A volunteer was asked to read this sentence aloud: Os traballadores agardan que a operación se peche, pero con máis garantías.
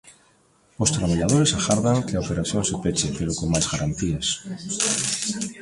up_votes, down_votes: 1, 2